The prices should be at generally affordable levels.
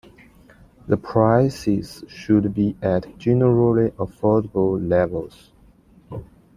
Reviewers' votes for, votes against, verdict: 2, 0, accepted